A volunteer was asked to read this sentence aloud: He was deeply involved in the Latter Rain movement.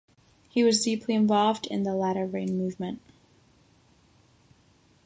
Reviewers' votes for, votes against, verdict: 6, 0, accepted